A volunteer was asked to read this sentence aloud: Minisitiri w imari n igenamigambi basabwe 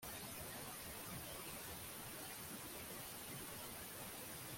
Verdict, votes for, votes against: rejected, 0, 2